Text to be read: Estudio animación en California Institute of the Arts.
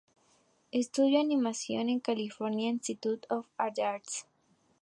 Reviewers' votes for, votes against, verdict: 2, 2, rejected